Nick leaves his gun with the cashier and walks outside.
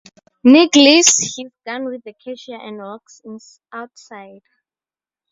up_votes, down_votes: 0, 4